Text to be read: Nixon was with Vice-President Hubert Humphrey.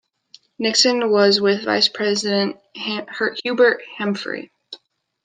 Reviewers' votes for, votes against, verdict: 1, 2, rejected